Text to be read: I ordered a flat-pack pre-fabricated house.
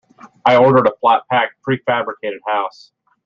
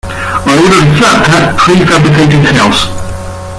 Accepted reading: first